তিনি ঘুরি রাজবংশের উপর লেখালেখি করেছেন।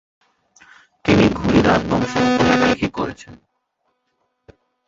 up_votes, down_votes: 1, 2